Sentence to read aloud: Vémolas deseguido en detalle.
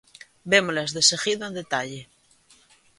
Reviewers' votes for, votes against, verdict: 2, 0, accepted